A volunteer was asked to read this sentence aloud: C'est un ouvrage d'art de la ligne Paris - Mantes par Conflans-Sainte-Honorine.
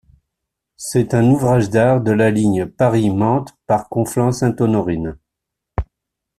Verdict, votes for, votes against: accepted, 2, 0